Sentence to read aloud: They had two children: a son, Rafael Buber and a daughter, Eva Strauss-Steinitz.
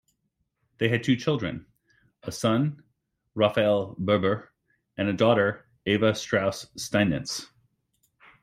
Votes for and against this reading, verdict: 2, 1, accepted